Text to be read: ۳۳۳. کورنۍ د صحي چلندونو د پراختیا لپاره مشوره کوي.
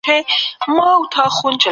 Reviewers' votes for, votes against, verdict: 0, 2, rejected